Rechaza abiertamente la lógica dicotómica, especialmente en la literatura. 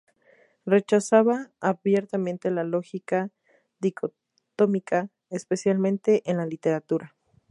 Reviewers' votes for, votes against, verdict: 0, 2, rejected